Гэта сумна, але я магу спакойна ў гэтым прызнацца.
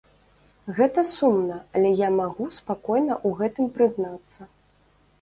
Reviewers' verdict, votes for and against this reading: rejected, 0, 2